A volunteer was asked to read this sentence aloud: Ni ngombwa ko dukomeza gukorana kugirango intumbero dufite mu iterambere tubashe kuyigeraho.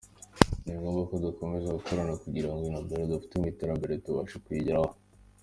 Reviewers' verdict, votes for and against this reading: accepted, 2, 1